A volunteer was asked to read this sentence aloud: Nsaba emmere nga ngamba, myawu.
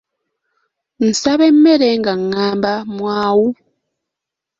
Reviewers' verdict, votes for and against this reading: rejected, 0, 3